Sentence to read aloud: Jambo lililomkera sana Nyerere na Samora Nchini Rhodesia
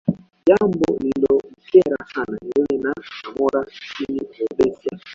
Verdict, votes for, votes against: rejected, 0, 2